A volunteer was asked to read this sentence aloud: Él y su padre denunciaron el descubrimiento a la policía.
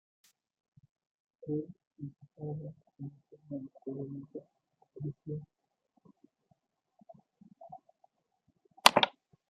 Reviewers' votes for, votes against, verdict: 1, 2, rejected